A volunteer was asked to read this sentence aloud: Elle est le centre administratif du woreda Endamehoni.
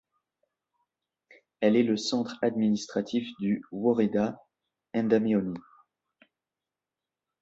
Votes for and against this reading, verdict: 2, 0, accepted